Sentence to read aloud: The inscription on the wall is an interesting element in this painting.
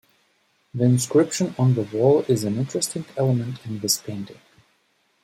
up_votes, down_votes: 2, 0